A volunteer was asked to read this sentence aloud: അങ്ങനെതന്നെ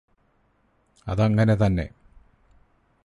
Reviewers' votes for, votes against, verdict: 2, 4, rejected